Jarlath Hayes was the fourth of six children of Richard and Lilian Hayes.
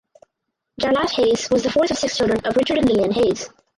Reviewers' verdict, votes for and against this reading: rejected, 0, 2